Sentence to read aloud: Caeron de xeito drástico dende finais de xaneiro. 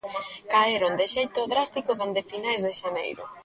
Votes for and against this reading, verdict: 2, 1, accepted